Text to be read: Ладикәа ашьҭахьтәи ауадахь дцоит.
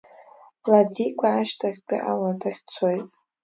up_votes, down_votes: 2, 0